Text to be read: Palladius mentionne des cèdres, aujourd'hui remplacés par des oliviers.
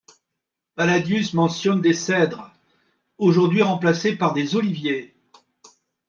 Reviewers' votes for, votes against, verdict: 2, 0, accepted